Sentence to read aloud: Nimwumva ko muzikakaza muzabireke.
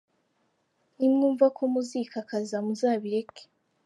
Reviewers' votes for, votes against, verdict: 2, 0, accepted